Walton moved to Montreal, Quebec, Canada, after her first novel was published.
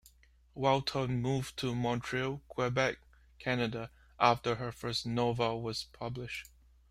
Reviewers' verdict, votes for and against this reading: accepted, 2, 1